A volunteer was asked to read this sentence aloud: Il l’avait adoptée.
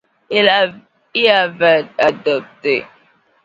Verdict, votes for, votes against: rejected, 0, 2